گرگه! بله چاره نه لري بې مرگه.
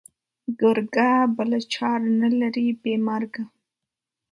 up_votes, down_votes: 2, 0